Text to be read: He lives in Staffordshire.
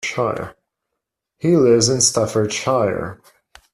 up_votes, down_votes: 0, 2